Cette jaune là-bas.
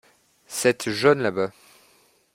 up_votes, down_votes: 2, 1